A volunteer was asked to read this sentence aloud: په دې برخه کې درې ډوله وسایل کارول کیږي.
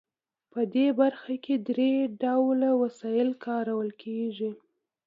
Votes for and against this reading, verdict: 2, 0, accepted